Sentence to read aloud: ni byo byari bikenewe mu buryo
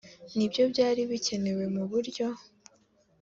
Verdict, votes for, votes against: accepted, 2, 0